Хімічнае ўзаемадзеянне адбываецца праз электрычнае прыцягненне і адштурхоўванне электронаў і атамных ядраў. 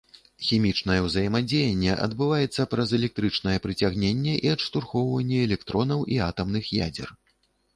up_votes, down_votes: 0, 2